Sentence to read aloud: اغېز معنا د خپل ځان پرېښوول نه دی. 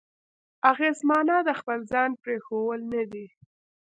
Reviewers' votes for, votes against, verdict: 2, 0, accepted